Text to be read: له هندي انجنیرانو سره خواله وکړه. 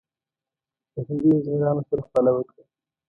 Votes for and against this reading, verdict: 2, 0, accepted